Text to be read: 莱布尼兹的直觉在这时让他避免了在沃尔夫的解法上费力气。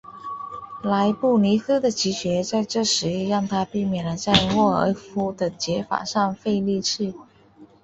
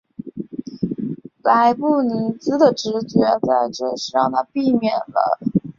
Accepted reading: first